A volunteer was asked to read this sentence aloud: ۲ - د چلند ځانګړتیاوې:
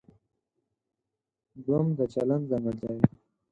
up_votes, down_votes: 0, 2